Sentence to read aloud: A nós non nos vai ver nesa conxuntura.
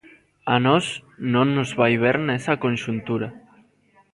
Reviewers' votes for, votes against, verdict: 0, 2, rejected